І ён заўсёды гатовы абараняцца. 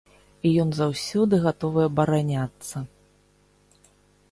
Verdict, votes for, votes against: accepted, 2, 0